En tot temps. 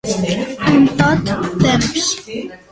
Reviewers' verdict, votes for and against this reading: accepted, 2, 0